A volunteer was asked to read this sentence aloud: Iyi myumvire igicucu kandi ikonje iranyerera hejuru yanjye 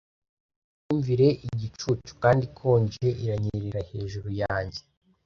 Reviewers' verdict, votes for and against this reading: rejected, 1, 2